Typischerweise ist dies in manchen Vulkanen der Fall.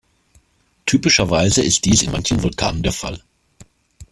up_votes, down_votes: 2, 0